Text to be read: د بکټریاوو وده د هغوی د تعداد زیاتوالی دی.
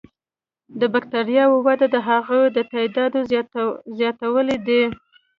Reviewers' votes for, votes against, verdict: 1, 2, rejected